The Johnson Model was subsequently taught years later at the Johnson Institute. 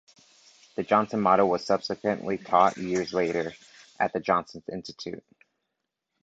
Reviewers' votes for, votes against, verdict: 1, 2, rejected